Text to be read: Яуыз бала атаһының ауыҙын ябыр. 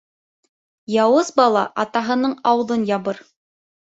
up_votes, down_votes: 3, 0